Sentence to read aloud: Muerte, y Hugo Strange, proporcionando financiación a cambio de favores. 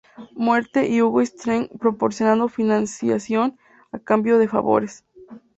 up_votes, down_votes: 0, 2